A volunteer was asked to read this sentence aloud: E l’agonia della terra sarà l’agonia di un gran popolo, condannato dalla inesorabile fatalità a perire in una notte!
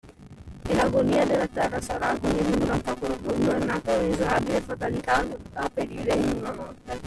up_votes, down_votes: 0, 2